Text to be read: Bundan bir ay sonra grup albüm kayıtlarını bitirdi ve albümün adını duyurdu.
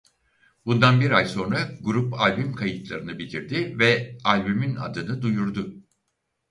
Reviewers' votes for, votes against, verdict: 4, 0, accepted